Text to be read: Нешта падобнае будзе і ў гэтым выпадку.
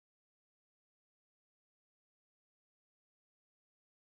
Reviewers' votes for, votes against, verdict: 0, 2, rejected